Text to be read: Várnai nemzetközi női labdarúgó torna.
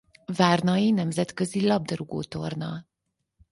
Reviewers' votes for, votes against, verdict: 4, 2, accepted